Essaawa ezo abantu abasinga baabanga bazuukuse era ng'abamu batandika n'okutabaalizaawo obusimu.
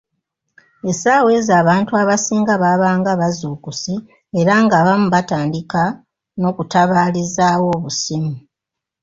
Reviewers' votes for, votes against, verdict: 2, 0, accepted